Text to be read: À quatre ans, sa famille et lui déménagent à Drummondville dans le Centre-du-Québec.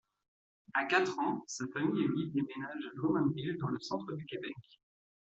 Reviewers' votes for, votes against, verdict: 1, 2, rejected